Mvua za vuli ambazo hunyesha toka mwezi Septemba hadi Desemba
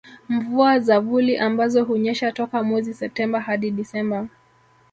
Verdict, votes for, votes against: accepted, 6, 1